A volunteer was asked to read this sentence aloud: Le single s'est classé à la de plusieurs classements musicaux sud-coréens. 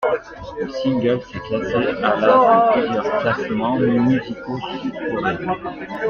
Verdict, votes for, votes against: rejected, 0, 2